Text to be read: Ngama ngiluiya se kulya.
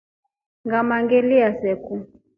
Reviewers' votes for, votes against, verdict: 0, 2, rejected